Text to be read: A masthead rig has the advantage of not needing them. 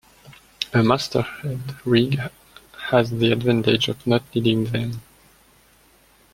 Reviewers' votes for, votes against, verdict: 0, 2, rejected